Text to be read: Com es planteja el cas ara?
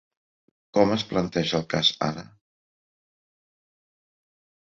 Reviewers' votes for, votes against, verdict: 3, 0, accepted